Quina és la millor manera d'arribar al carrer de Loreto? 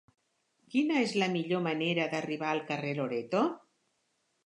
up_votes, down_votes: 1, 3